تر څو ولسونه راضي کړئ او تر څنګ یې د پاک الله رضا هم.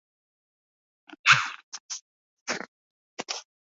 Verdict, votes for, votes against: rejected, 0, 2